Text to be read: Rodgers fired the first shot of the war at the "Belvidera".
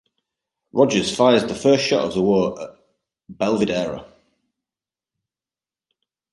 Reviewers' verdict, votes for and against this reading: rejected, 0, 2